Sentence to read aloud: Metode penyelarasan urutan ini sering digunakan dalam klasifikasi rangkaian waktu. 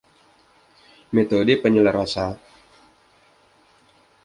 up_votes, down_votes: 0, 2